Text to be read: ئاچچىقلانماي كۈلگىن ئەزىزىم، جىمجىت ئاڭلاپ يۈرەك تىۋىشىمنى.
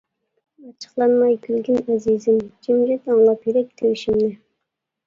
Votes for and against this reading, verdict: 1, 2, rejected